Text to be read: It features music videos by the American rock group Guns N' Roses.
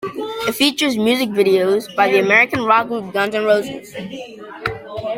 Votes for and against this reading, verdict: 2, 0, accepted